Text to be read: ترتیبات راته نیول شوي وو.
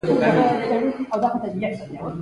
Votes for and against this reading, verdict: 2, 3, rejected